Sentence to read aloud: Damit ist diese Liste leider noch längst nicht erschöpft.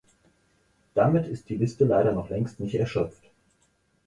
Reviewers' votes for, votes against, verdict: 2, 4, rejected